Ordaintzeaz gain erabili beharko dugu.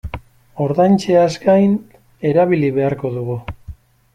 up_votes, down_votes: 2, 1